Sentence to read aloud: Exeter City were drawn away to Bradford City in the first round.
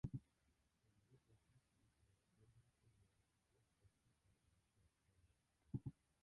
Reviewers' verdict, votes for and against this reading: rejected, 0, 2